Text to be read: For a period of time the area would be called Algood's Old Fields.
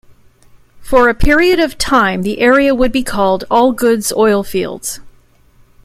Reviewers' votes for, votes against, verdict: 1, 2, rejected